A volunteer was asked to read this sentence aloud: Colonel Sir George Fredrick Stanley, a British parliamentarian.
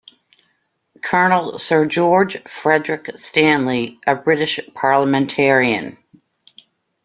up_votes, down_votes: 2, 0